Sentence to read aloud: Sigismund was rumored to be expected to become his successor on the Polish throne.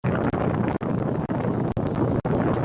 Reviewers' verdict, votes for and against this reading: rejected, 0, 2